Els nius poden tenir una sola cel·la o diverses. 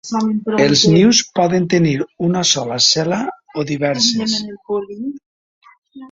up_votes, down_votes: 1, 3